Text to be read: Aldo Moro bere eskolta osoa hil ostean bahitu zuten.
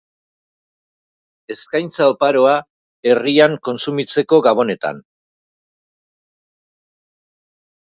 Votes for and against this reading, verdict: 0, 3, rejected